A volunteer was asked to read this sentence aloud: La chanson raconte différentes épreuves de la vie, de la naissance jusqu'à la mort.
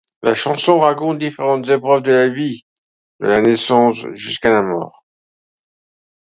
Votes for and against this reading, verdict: 2, 0, accepted